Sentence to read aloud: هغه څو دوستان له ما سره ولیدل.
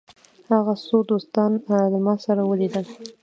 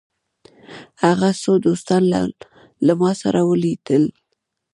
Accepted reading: first